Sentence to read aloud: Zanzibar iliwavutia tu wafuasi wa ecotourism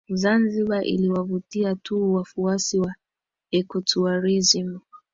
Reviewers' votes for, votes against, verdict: 12, 1, accepted